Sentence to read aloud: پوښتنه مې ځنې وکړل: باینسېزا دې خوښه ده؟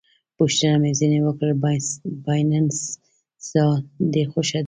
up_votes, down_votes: 1, 2